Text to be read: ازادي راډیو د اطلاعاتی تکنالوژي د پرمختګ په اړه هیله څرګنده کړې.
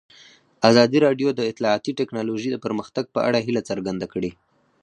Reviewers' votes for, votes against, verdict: 4, 2, accepted